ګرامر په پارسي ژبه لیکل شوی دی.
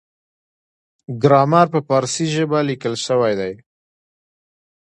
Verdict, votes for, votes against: accepted, 2, 0